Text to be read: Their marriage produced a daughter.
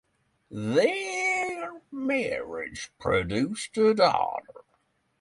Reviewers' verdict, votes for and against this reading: accepted, 6, 0